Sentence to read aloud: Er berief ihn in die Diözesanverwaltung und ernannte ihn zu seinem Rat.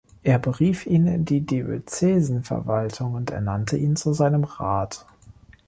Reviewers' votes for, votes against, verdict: 1, 2, rejected